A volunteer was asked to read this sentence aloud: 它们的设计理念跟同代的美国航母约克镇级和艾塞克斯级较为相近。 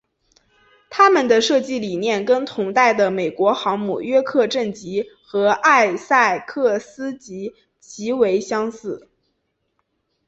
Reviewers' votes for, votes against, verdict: 1, 2, rejected